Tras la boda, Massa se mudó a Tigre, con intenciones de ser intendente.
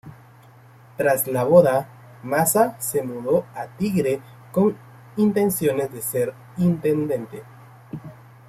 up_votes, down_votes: 2, 0